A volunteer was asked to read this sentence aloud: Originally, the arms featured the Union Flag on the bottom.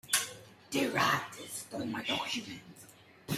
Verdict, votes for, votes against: rejected, 0, 2